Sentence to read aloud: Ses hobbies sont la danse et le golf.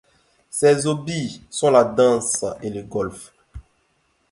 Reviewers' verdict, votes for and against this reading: rejected, 1, 2